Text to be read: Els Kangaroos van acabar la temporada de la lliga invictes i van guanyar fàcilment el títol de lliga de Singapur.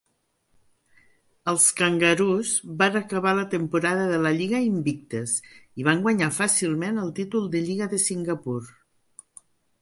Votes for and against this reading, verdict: 2, 0, accepted